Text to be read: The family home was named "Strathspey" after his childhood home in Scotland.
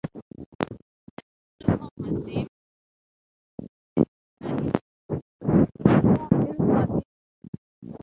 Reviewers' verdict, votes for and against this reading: rejected, 0, 3